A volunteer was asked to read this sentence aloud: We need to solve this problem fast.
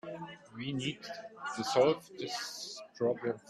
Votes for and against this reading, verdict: 0, 2, rejected